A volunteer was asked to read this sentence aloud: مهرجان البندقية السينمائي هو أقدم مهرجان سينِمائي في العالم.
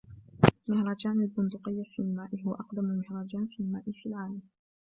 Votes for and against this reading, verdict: 2, 1, accepted